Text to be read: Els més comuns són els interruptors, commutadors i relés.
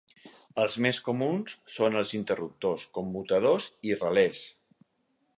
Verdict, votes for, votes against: accepted, 4, 0